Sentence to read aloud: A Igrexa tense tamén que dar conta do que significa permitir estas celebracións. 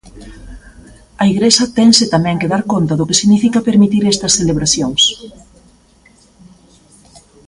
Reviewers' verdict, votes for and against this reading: accepted, 2, 0